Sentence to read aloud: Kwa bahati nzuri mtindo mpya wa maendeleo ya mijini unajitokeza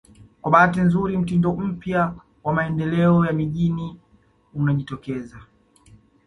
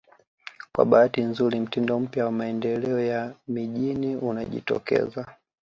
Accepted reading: first